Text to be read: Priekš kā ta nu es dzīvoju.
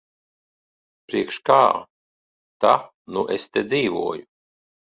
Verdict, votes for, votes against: rejected, 1, 2